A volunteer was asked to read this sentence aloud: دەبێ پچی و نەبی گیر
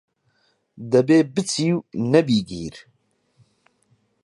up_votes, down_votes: 6, 0